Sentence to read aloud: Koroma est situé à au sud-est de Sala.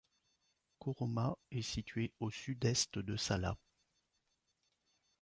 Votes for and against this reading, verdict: 0, 2, rejected